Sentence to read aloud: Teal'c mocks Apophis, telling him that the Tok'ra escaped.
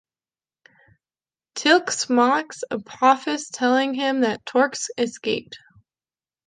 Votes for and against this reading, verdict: 1, 2, rejected